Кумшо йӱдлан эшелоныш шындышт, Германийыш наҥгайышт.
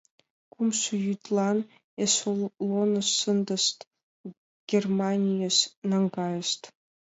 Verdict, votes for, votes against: rejected, 1, 2